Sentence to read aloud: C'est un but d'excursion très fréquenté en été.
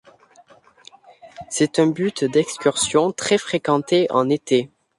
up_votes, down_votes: 2, 0